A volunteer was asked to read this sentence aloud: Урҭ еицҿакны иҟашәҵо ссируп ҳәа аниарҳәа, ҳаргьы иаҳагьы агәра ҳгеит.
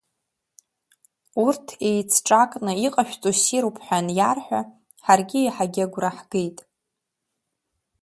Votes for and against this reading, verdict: 2, 0, accepted